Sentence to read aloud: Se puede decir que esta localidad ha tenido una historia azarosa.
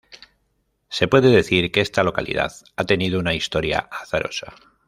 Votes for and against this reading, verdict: 2, 0, accepted